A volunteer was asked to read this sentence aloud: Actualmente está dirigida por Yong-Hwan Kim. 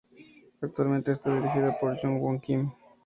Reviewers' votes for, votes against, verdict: 2, 0, accepted